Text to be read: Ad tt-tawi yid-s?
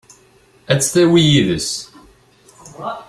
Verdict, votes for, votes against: rejected, 0, 2